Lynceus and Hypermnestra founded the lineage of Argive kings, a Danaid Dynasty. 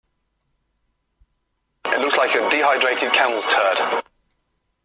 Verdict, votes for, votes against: rejected, 0, 2